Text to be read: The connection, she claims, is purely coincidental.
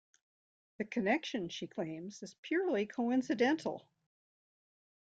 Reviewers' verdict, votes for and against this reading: accepted, 2, 0